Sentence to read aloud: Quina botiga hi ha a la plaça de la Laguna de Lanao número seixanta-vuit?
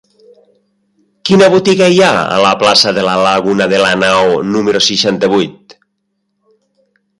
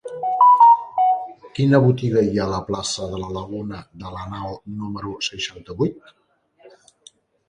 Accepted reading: first